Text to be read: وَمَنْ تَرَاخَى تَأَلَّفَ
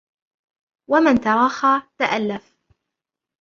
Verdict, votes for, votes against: rejected, 0, 3